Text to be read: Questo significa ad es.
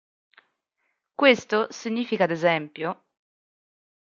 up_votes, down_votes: 0, 2